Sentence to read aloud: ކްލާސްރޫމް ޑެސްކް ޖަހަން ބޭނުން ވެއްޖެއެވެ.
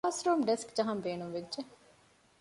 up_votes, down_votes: 2, 0